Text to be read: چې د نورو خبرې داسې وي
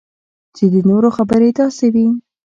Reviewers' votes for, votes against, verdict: 2, 0, accepted